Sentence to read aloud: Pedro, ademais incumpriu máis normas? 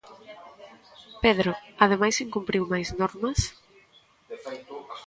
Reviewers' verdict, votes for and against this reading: accepted, 2, 1